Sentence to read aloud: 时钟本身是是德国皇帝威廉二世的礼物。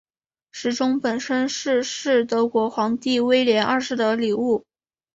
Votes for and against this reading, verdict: 3, 0, accepted